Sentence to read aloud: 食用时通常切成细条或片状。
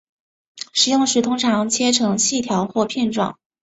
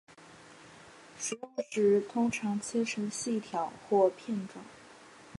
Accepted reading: first